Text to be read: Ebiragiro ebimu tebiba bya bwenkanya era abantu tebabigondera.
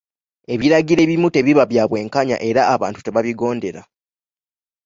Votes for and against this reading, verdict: 2, 0, accepted